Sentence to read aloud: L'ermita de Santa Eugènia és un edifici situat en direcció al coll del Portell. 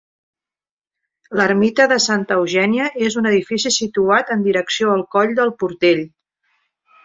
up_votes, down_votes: 3, 0